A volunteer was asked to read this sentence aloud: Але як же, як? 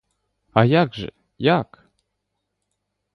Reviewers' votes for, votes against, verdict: 0, 2, rejected